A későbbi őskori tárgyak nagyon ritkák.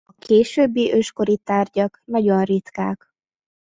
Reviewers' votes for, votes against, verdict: 0, 2, rejected